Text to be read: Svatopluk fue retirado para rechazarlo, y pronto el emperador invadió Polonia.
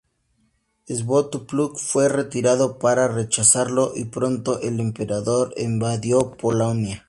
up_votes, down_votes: 0, 2